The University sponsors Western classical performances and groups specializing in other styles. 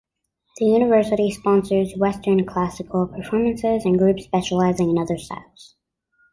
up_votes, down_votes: 2, 0